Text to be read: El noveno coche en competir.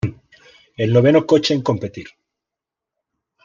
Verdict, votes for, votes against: accepted, 2, 0